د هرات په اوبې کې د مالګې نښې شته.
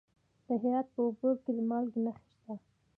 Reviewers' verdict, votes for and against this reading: accepted, 2, 0